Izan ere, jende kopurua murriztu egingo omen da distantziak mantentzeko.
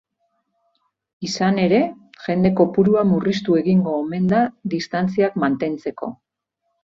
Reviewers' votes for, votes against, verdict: 4, 0, accepted